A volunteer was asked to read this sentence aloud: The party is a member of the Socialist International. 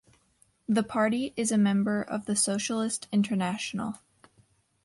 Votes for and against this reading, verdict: 2, 0, accepted